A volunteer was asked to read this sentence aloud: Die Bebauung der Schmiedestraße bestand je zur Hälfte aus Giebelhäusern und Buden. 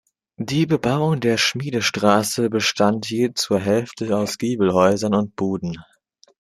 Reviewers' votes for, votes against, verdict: 2, 0, accepted